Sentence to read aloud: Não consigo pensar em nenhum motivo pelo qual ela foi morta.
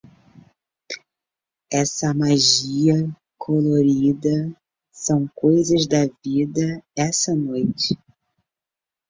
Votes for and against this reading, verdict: 0, 2, rejected